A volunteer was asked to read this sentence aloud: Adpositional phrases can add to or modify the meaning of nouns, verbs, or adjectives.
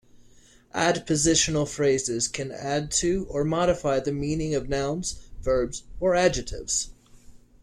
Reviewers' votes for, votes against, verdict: 2, 1, accepted